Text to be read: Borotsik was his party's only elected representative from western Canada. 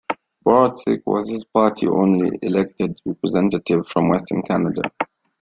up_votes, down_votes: 1, 2